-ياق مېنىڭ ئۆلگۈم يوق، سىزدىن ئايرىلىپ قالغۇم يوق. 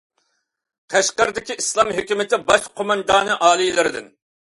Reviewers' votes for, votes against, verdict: 0, 2, rejected